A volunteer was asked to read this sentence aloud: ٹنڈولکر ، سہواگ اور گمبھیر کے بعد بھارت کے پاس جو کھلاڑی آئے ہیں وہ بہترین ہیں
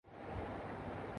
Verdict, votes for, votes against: rejected, 4, 9